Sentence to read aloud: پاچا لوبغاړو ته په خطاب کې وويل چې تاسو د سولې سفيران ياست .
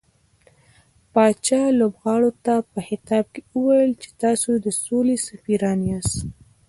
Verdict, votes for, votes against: rejected, 0, 2